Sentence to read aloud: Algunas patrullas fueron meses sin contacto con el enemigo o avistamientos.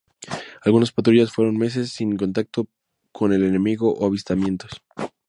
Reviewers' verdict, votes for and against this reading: accepted, 2, 0